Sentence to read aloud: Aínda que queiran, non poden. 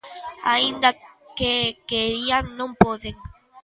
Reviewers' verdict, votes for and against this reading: rejected, 0, 2